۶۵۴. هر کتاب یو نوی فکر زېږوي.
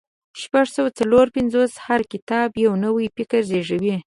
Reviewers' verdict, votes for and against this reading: rejected, 0, 2